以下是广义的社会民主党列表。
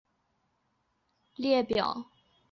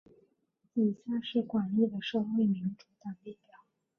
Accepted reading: second